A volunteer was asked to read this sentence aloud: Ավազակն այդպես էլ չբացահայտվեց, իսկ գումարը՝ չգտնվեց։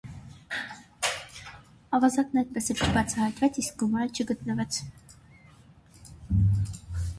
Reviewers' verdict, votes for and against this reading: rejected, 0, 2